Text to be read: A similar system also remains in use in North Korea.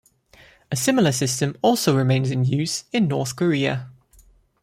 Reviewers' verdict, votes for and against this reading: accepted, 2, 1